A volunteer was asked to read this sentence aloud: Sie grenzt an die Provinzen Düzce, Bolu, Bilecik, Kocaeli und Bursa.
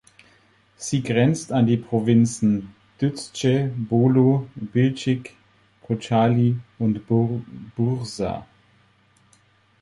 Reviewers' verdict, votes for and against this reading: rejected, 0, 4